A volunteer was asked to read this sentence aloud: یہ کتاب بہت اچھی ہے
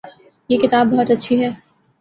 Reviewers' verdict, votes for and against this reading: accepted, 2, 0